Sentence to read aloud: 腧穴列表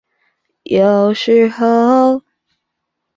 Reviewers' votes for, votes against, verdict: 3, 4, rejected